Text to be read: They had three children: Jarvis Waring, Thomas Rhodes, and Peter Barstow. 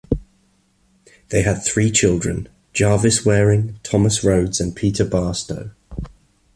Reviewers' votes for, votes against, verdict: 2, 0, accepted